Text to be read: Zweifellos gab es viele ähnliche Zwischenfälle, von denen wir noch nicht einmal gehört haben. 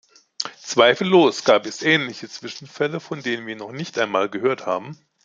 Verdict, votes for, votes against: rejected, 0, 2